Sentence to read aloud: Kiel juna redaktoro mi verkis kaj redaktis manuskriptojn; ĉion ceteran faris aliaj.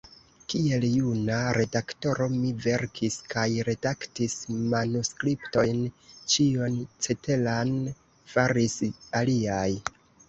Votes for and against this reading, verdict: 1, 2, rejected